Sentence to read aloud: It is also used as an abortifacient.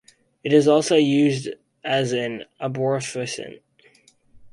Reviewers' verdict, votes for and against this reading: rejected, 2, 4